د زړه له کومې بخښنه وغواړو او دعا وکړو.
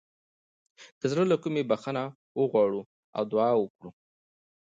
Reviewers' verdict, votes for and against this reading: accepted, 2, 1